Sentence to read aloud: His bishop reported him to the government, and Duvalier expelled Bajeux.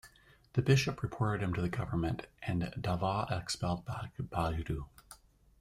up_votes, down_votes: 0, 2